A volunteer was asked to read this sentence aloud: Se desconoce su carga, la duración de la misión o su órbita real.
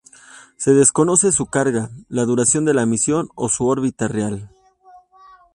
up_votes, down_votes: 2, 0